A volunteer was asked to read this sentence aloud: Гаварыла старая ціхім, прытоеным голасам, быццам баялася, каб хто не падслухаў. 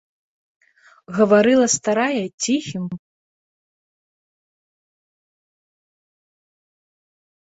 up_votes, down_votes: 0, 2